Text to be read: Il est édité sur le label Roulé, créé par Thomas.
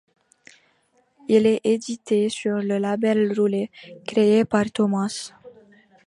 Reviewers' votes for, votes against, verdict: 2, 0, accepted